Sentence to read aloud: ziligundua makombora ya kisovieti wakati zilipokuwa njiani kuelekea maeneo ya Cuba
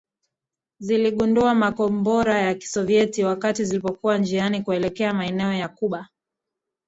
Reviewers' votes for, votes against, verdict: 1, 2, rejected